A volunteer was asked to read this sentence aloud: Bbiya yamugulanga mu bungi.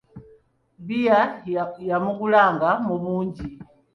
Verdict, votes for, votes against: accepted, 2, 0